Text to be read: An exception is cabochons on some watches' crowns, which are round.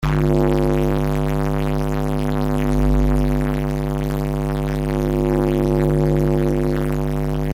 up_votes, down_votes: 0, 2